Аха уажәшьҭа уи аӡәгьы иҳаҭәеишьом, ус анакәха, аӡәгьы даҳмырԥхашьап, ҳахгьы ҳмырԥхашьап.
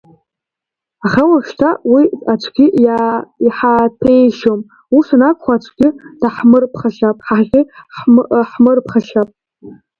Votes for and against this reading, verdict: 0, 2, rejected